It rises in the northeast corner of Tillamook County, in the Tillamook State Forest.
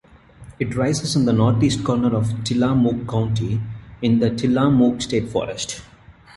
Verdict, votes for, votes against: accepted, 2, 1